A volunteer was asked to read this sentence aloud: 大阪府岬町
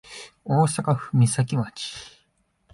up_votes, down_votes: 2, 0